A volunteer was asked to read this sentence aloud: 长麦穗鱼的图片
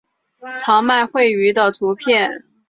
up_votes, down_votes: 3, 1